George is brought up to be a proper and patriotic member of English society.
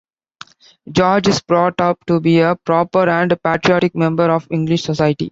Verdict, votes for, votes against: accepted, 3, 0